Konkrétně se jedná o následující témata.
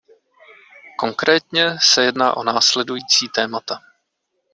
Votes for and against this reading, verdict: 2, 0, accepted